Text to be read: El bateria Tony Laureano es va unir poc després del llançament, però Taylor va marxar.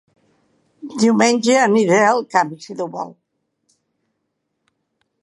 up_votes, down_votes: 1, 2